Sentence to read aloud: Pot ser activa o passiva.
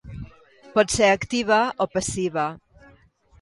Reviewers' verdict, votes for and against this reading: accepted, 2, 0